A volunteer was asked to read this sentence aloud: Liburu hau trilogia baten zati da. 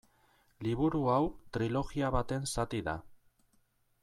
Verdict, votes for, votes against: accepted, 2, 0